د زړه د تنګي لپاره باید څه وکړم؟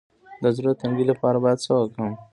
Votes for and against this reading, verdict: 2, 0, accepted